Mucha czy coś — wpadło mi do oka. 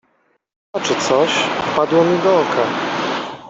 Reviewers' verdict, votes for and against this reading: rejected, 0, 2